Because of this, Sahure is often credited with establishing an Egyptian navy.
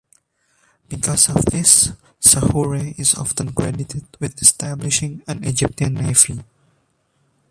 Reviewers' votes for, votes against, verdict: 0, 2, rejected